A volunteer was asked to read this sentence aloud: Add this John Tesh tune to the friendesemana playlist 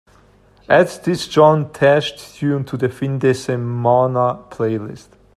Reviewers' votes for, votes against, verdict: 2, 0, accepted